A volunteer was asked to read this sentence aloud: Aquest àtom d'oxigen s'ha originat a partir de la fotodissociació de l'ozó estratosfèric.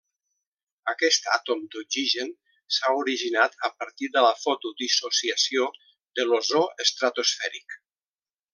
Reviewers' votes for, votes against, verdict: 2, 0, accepted